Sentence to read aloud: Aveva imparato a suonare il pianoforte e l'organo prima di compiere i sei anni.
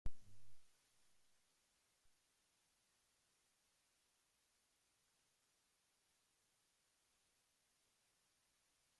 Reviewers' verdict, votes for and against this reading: rejected, 0, 2